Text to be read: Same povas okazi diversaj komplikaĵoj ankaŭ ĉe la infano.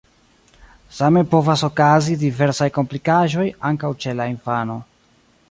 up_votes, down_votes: 1, 2